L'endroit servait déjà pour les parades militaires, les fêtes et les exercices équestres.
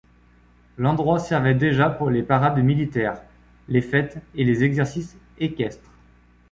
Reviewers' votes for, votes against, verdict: 2, 0, accepted